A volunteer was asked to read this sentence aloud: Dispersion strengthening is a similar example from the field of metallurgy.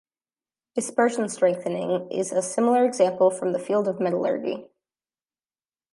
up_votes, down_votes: 2, 0